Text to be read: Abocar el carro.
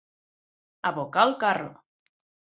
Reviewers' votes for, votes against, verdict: 6, 0, accepted